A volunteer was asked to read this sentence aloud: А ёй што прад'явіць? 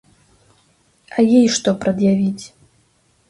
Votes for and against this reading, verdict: 0, 2, rejected